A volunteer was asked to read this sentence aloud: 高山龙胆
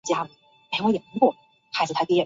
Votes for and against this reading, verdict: 2, 4, rejected